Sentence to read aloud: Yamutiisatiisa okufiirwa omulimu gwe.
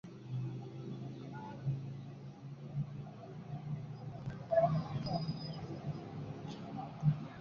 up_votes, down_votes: 1, 2